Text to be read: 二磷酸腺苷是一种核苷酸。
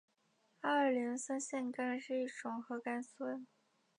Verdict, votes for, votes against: accepted, 4, 1